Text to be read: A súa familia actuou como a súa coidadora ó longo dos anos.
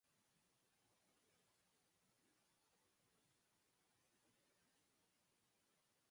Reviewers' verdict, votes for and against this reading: rejected, 0, 4